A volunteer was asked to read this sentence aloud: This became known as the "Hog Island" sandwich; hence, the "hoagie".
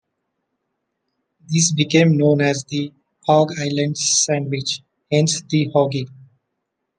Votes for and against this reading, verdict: 2, 1, accepted